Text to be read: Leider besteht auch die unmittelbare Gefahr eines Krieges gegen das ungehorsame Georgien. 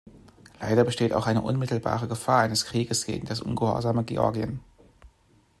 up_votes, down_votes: 0, 2